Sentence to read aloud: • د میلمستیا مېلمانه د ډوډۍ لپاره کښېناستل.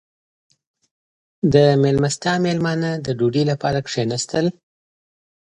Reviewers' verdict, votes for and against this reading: accepted, 2, 1